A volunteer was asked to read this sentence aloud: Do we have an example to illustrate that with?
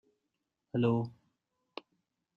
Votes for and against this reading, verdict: 0, 2, rejected